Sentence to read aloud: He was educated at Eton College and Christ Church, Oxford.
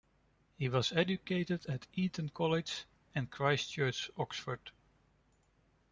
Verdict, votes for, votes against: accepted, 2, 0